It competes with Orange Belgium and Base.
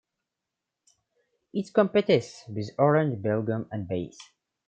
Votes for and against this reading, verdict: 0, 2, rejected